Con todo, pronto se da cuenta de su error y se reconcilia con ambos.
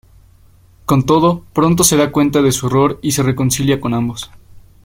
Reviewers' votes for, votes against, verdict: 2, 0, accepted